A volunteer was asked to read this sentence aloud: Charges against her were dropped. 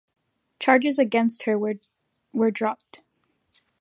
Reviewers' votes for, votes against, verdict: 1, 2, rejected